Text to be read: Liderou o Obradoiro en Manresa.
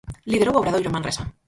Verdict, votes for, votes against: rejected, 0, 4